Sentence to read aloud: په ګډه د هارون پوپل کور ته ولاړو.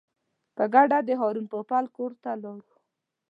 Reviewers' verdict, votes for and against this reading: accepted, 2, 0